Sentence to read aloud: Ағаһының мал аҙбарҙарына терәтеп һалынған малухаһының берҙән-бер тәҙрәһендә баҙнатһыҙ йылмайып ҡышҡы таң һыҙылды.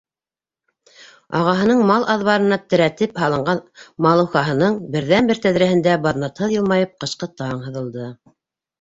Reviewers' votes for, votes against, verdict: 2, 1, accepted